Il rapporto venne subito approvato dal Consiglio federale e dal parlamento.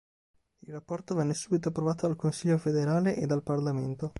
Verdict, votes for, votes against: accepted, 2, 0